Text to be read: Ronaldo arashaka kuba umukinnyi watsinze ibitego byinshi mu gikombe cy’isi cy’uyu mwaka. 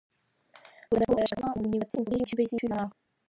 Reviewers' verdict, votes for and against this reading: rejected, 1, 2